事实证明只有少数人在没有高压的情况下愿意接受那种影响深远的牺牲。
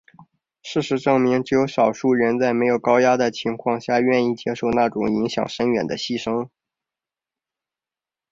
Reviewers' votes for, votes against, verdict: 3, 0, accepted